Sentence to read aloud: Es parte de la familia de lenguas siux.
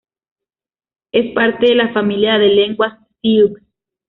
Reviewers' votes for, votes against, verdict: 2, 0, accepted